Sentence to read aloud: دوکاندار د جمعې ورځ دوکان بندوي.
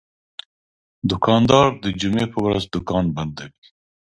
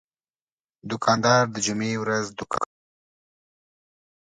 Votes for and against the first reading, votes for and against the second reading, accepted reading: 2, 0, 0, 2, first